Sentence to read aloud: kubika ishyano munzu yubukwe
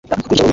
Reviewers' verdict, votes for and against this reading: rejected, 0, 2